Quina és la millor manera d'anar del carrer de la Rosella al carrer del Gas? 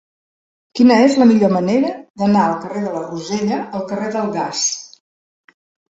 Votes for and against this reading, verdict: 0, 2, rejected